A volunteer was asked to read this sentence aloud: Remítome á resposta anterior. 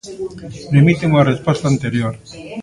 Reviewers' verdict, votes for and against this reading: rejected, 1, 2